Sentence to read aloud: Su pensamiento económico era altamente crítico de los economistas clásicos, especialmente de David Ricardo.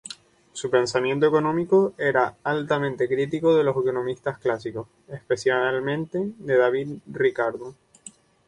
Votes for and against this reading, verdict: 0, 2, rejected